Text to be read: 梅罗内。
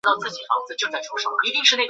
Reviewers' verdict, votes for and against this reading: rejected, 0, 2